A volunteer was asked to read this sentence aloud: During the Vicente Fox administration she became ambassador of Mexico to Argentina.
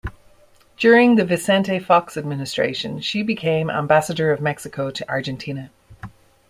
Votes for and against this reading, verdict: 2, 0, accepted